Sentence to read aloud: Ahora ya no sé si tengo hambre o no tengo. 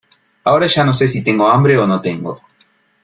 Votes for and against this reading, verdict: 2, 1, accepted